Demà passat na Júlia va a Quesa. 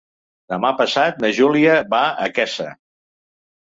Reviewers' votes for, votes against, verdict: 3, 0, accepted